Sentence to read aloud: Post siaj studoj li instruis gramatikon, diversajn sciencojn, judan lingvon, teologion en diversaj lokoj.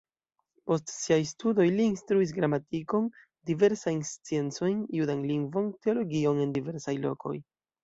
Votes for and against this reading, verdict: 2, 0, accepted